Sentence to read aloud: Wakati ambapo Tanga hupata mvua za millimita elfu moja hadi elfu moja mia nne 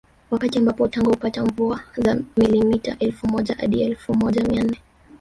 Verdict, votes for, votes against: rejected, 0, 3